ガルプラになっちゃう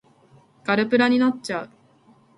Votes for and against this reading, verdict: 2, 0, accepted